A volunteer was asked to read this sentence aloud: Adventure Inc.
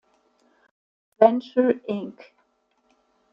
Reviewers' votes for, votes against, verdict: 1, 2, rejected